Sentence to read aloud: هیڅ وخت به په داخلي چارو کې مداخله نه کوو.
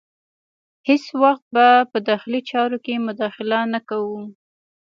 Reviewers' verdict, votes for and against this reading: accepted, 2, 0